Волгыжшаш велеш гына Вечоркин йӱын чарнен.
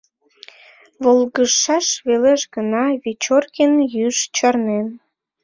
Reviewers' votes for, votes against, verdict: 1, 2, rejected